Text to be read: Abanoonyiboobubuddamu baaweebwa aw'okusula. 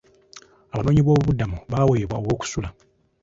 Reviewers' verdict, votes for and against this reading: accepted, 2, 0